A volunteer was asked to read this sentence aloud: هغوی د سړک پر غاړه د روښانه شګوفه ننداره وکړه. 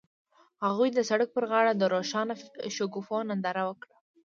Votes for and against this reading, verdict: 0, 2, rejected